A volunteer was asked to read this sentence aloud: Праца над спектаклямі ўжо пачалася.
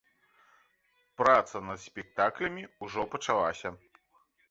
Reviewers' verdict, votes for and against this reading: rejected, 1, 2